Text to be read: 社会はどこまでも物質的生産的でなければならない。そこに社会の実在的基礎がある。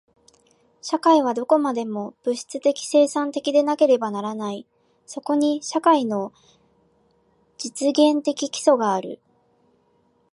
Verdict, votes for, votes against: rejected, 0, 2